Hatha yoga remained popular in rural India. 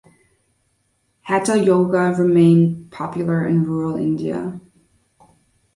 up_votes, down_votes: 2, 0